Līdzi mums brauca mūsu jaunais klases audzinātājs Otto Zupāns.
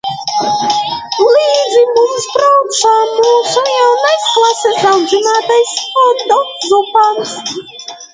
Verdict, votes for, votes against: rejected, 0, 2